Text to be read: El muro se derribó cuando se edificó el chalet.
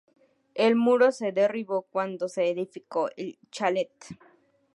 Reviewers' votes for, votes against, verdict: 2, 0, accepted